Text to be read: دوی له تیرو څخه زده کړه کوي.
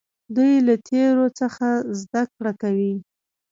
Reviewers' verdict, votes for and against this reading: accepted, 2, 0